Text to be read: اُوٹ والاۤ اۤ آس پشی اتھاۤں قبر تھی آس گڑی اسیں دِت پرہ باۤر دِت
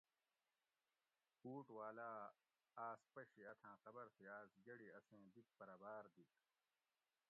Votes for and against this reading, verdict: 1, 2, rejected